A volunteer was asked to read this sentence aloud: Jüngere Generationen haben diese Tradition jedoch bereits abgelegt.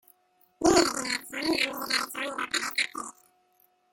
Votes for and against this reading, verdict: 0, 2, rejected